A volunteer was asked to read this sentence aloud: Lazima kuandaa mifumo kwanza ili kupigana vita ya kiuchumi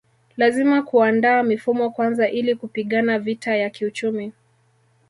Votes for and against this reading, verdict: 1, 2, rejected